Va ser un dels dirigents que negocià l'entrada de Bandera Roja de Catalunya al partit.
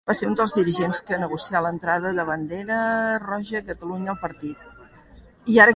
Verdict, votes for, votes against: rejected, 0, 2